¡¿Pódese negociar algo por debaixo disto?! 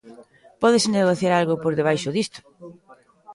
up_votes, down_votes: 1, 2